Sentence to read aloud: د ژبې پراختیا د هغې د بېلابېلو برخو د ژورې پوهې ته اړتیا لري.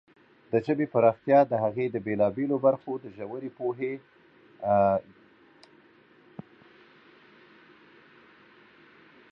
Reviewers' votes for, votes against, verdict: 1, 2, rejected